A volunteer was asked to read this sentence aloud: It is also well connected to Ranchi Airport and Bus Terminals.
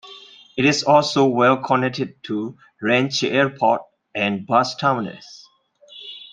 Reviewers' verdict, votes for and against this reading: accepted, 2, 0